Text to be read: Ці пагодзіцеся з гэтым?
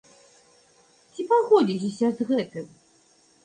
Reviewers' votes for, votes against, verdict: 2, 0, accepted